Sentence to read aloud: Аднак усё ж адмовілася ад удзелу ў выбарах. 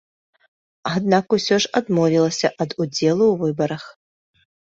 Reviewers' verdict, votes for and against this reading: accepted, 2, 0